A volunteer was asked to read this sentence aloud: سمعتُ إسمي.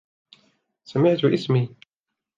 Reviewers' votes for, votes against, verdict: 2, 0, accepted